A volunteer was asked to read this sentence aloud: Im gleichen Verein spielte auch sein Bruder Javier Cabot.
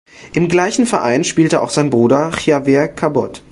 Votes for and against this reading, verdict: 1, 2, rejected